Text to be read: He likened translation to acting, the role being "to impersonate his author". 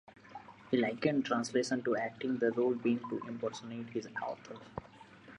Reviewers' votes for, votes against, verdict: 2, 1, accepted